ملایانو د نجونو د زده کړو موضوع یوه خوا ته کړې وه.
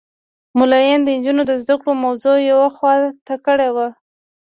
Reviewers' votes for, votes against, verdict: 1, 2, rejected